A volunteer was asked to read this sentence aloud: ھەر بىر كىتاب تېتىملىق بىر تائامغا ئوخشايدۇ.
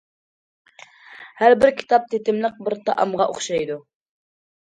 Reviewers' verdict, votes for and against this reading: accepted, 2, 0